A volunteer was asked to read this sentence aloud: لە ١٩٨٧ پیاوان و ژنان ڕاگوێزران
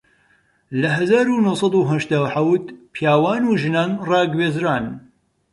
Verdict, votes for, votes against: rejected, 0, 2